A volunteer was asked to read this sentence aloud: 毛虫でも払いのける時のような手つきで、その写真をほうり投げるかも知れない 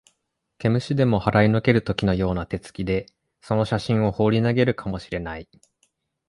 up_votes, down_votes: 2, 0